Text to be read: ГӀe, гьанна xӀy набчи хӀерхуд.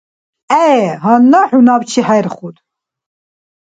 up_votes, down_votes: 2, 0